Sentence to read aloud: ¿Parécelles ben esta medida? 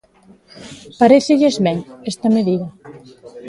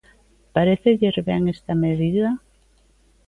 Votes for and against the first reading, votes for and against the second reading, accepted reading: 0, 2, 2, 0, second